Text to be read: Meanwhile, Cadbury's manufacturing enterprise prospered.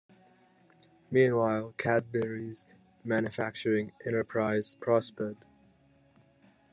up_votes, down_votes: 2, 0